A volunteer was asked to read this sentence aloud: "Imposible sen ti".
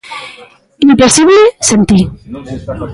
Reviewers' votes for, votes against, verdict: 1, 2, rejected